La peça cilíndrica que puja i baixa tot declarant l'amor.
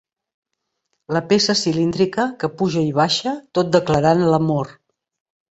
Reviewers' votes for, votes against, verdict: 2, 1, accepted